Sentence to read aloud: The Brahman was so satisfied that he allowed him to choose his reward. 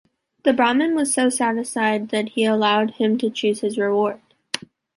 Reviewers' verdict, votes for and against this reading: rejected, 0, 2